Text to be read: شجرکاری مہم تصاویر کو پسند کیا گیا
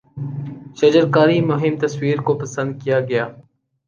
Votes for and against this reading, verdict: 0, 2, rejected